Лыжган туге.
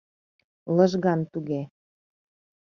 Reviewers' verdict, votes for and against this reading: accepted, 2, 0